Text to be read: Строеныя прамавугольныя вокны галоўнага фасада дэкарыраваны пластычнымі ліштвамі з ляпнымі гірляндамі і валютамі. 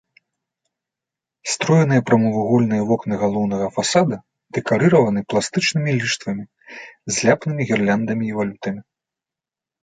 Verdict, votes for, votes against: rejected, 1, 2